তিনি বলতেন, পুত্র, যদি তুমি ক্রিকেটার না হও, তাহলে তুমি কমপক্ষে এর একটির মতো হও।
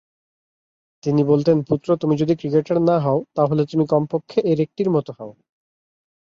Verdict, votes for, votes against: rejected, 2, 3